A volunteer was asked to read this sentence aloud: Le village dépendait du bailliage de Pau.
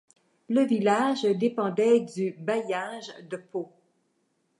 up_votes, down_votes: 2, 0